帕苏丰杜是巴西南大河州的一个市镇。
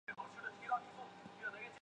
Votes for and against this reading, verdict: 0, 2, rejected